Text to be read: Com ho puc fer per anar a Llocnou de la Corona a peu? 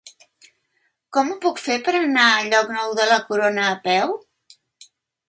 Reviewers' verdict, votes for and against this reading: accepted, 2, 0